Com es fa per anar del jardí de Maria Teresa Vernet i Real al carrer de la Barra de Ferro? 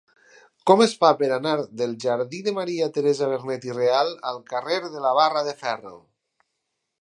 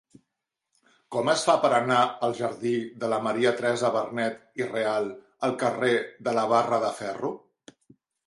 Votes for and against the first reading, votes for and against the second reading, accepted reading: 8, 0, 0, 2, first